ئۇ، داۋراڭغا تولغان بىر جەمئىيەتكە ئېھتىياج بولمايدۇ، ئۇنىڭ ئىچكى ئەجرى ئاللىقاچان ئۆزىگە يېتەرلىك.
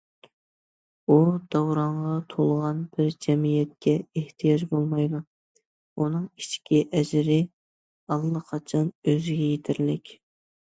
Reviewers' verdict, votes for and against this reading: accepted, 2, 0